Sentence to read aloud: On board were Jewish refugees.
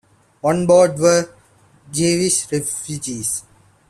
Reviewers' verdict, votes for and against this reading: rejected, 1, 2